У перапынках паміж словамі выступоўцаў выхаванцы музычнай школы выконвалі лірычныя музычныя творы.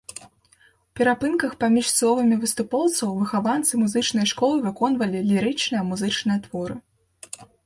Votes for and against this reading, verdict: 2, 0, accepted